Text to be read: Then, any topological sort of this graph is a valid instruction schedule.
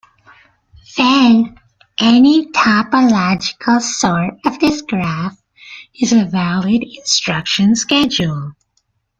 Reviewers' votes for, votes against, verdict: 1, 2, rejected